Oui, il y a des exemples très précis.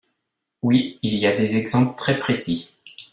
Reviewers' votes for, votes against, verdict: 2, 0, accepted